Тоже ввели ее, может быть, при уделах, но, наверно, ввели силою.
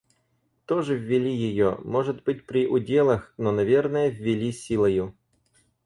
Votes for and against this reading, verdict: 0, 4, rejected